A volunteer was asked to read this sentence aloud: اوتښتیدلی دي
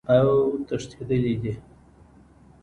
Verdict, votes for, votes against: accepted, 2, 0